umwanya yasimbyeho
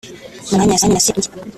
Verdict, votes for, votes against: rejected, 0, 2